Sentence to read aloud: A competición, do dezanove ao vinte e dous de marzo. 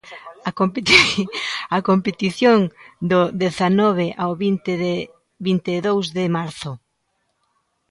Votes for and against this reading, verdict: 0, 2, rejected